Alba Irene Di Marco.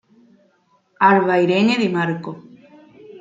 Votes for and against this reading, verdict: 2, 1, accepted